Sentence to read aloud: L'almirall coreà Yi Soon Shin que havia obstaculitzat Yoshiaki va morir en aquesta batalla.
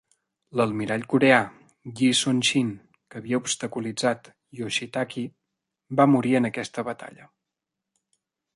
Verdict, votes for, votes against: rejected, 1, 2